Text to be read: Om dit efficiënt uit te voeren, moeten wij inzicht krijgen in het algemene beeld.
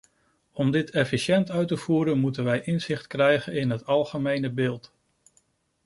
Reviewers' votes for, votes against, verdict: 2, 0, accepted